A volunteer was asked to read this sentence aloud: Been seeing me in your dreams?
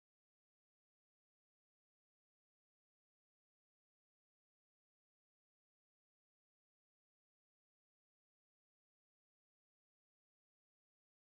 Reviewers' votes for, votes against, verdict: 0, 2, rejected